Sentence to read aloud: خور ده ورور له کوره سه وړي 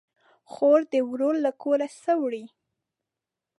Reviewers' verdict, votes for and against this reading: rejected, 1, 2